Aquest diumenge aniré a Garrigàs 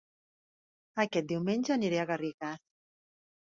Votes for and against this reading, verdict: 1, 2, rejected